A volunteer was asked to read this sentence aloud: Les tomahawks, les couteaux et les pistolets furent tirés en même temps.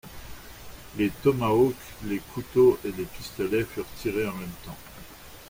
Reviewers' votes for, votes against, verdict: 2, 0, accepted